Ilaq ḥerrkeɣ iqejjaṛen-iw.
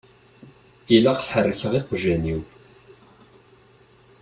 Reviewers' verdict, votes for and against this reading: rejected, 0, 2